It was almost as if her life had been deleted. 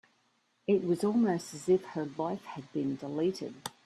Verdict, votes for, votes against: rejected, 0, 2